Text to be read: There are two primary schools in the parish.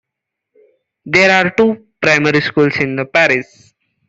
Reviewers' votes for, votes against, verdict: 1, 2, rejected